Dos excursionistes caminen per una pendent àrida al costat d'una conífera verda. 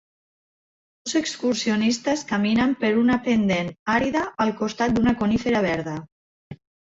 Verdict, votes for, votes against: rejected, 0, 2